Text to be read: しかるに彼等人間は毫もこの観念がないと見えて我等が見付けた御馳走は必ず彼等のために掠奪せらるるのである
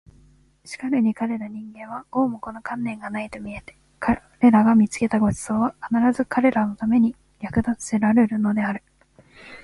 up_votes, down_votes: 1, 2